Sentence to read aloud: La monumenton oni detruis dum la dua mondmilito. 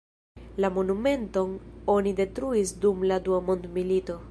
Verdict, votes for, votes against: accepted, 2, 0